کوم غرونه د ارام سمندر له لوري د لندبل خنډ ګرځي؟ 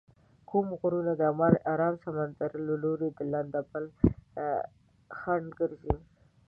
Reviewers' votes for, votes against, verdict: 0, 2, rejected